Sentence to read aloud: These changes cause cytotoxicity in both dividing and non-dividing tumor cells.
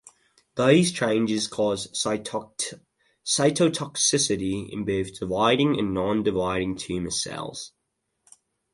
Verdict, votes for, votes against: rejected, 0, 2